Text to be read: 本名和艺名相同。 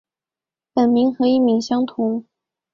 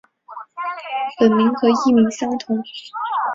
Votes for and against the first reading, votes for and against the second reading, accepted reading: 3, 0, 1, 2, first